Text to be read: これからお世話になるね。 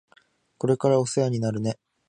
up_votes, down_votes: 2, 0